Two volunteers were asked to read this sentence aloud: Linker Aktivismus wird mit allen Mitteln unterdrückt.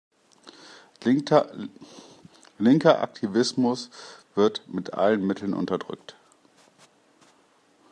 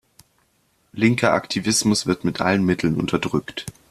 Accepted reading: second